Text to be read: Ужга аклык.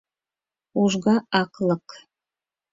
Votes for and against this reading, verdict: 4, 0, accepted